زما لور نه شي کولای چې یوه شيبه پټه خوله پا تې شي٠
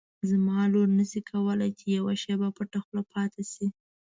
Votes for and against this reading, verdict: 0, 2, rejected